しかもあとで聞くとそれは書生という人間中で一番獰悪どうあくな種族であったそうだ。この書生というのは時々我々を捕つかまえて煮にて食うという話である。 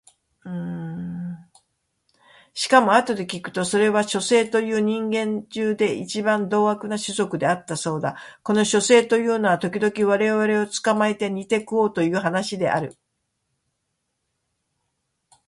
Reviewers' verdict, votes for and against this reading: accepted, 2, 0